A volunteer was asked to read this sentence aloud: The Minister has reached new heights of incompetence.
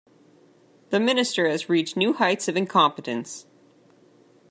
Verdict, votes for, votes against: accepted, 2, 0